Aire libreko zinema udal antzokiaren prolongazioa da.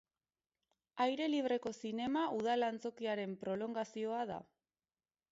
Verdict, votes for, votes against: accepted, 4, 0